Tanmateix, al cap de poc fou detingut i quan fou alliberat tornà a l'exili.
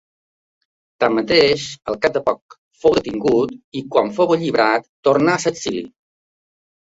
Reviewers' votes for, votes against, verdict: 1, 2, rejected